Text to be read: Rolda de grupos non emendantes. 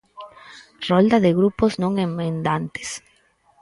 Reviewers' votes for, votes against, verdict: 2, 4, rejected